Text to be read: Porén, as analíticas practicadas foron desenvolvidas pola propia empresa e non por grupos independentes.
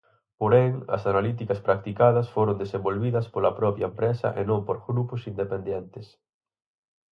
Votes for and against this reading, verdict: 2, 4, rejected